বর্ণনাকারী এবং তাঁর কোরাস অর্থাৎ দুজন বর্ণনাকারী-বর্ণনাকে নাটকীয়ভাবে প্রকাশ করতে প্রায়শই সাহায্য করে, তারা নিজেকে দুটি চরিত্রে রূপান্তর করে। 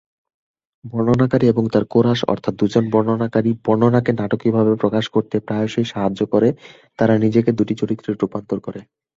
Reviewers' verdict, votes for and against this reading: accepted, 2, 0